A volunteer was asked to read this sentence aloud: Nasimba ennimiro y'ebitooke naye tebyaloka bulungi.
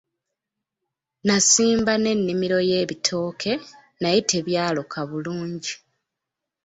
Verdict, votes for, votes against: rejected, 0, 2